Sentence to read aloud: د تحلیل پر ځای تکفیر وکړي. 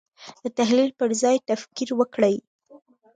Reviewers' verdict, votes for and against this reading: accepted, 2, 1